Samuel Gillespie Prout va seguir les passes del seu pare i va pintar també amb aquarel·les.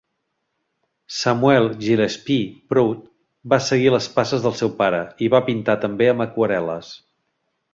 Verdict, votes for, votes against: accepted, 2, 0